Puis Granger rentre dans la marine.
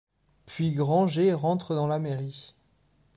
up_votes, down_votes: 0, 2